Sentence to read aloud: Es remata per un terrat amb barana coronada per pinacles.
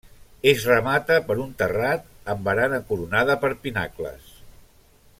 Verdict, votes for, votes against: accepted, 3, 1